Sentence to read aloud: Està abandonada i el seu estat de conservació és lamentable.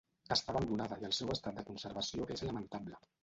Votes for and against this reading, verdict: 0, 2, rejected